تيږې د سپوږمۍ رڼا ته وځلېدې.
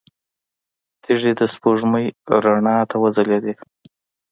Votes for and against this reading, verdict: 2, 0, accepted